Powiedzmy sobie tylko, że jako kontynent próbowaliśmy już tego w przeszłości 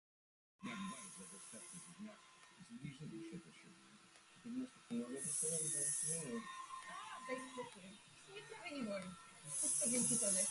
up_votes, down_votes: 0, 2